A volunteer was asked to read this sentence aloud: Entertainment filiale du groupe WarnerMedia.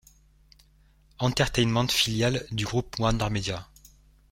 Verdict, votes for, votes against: accepted, 2, 0